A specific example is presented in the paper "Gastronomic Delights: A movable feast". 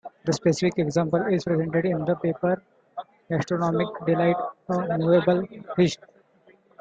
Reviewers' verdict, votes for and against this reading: rejected, 0, 2